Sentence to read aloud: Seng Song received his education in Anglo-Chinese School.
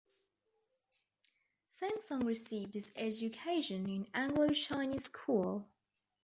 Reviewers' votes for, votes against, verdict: 2, 0, accepted